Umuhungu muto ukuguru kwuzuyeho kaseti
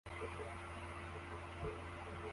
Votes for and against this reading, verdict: 0, 2, rejected